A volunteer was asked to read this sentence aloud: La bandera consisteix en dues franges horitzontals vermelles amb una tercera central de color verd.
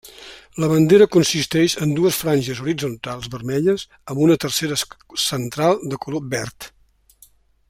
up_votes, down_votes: 1, 2